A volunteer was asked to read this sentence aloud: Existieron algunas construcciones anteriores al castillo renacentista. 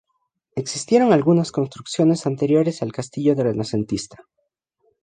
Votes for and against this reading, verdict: 0, 2, rejected